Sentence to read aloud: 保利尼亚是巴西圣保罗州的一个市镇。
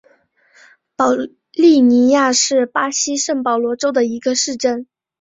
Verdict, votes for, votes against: accepted, 3, 1